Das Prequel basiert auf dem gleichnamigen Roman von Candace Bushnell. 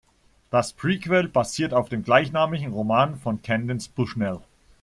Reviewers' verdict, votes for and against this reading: rejected, 1, 2